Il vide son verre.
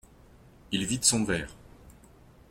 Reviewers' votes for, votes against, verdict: 2, 0, accepted